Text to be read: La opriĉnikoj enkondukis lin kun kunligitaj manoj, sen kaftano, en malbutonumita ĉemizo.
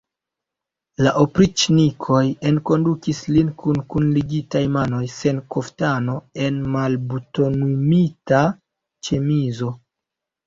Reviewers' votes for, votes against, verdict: 1, 2, rejected